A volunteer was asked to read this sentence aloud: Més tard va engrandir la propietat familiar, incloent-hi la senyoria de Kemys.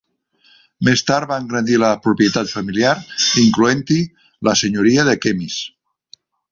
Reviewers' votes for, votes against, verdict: 0, 2, rejected